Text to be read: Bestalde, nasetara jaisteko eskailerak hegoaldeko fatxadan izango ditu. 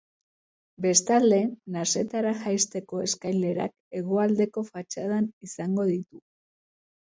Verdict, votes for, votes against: accepted, 3, 0